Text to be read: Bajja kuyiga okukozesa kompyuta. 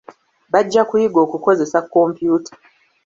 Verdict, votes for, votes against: accepted, 2, 0